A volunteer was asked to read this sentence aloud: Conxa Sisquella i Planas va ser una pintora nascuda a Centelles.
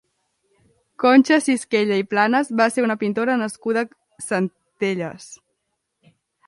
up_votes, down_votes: 0, 2